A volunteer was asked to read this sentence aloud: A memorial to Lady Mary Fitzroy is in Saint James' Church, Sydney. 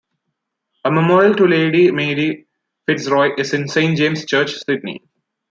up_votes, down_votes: 2, 1